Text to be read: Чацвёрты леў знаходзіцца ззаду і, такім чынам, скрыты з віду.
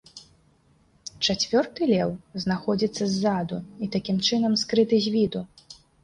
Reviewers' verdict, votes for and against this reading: accepted, 2, 0